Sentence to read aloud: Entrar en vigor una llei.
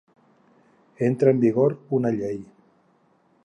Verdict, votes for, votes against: rejected, 0, 2